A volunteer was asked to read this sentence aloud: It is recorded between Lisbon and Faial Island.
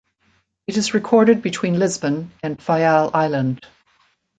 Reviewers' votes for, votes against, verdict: 2, 0, accepted